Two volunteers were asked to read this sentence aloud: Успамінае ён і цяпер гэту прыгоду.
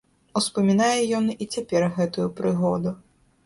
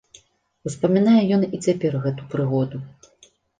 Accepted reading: second